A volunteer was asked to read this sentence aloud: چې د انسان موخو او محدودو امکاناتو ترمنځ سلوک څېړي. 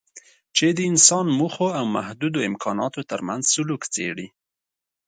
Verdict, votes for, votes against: accepted, 2, 0